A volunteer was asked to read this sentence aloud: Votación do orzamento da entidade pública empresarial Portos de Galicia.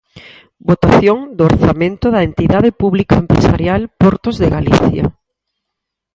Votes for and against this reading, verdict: 4, 0, accepted